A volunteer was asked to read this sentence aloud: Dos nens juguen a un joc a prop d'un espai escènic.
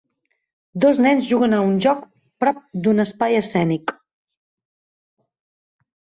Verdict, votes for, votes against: rejected, 2, 3